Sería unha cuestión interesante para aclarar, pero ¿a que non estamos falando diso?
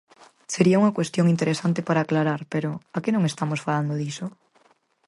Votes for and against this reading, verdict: 4, 0, accepted